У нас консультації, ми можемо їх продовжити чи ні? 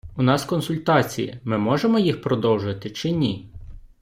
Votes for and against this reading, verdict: 2, 0, accepted